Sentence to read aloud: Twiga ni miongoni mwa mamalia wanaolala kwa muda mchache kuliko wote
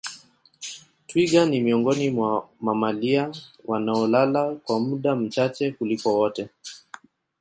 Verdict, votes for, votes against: accepted, 2, 1